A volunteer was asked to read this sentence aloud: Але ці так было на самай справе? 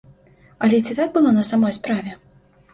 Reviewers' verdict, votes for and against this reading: rejected, 0, 2